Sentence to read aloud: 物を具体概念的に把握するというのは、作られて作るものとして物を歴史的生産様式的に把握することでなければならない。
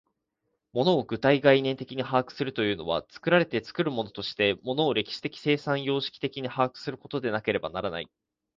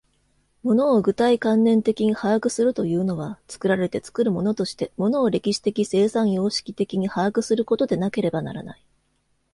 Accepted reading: first